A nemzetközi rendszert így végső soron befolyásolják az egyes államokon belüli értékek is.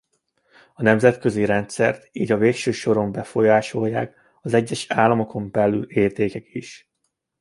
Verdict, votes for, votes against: rejected, 0, 2